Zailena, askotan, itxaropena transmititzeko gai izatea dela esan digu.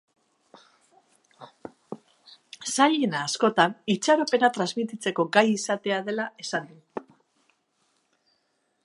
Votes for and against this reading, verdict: 3, 1, accepted